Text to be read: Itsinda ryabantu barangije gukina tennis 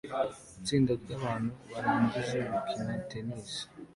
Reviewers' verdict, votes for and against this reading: accepted, 2, 0